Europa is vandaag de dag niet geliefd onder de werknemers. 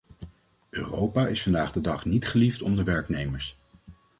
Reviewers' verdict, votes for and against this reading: rejected, 1, 2